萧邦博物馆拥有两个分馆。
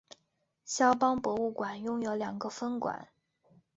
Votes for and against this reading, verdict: 2, 0, accepted